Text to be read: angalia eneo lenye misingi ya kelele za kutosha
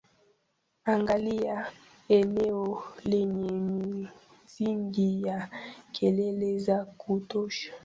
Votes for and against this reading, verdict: 2, 1, accepted